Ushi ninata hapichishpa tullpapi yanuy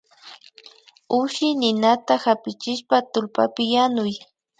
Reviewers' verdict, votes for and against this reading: accepted, 2, 0